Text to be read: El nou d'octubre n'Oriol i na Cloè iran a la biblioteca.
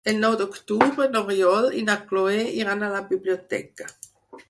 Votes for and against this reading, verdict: 4, 2, accepted